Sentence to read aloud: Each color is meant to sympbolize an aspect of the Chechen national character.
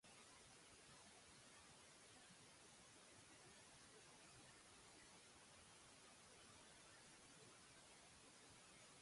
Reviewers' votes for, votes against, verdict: 0, 2, rejected